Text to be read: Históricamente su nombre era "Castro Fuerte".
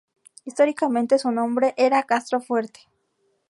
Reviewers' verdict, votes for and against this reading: rejected, 2, 2